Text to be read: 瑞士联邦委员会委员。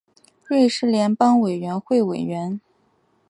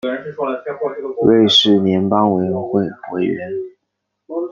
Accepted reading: first